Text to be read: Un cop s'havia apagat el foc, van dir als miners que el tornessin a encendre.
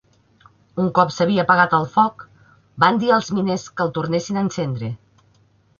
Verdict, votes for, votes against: accepted, 3, 0